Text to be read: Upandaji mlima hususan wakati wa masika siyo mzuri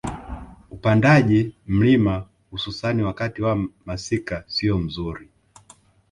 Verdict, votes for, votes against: accepted, 2, 1